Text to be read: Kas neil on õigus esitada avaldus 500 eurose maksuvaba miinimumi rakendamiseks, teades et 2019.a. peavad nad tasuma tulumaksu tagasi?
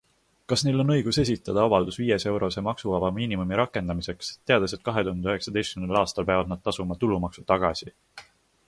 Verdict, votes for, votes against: rejected, 0, 2